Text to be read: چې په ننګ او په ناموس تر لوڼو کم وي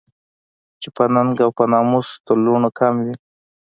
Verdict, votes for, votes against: accepted, 2, 0